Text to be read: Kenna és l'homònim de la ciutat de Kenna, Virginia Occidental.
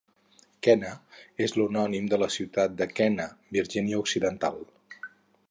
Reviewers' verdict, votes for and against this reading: rejected, 2, 2